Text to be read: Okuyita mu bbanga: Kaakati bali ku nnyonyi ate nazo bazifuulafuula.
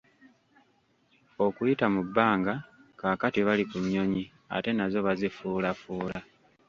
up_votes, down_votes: 1, 2